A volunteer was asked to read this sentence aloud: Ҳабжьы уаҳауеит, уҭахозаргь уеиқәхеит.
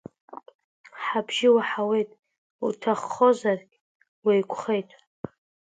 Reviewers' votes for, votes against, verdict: 2, 1, accepted